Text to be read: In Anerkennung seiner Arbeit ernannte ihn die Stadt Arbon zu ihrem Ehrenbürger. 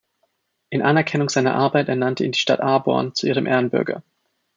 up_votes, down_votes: 0, 2